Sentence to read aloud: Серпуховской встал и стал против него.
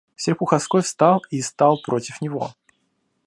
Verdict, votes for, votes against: accepted, 2, 0